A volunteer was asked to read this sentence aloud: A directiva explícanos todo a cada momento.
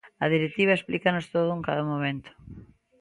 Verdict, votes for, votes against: rejected, 1, 2